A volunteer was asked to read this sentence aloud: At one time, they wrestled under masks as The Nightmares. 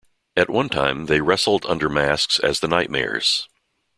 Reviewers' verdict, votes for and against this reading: accepted, 2, 0